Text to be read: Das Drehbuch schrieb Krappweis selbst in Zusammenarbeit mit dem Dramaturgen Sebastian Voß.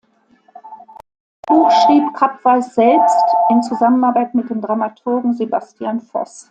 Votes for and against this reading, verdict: 0, 2, rejected